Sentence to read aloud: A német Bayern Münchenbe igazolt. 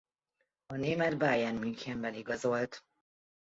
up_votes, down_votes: 0, 2